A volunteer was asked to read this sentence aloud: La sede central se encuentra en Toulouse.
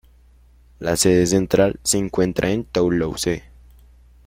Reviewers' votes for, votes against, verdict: 0, 3, rejected